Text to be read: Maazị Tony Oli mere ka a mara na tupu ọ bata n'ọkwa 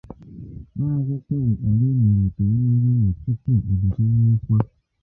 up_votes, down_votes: 0, 2